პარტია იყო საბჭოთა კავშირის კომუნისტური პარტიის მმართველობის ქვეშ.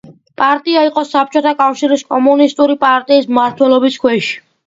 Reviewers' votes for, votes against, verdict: 2, 0, accepted